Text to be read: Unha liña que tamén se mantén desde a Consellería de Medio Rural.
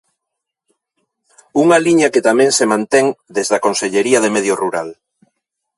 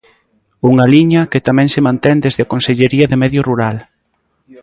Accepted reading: first